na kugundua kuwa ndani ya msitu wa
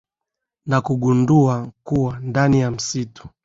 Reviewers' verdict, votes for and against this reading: rejected, 0, 2